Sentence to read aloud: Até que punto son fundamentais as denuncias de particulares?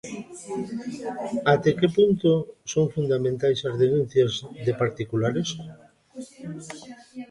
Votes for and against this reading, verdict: 1, 2, rejected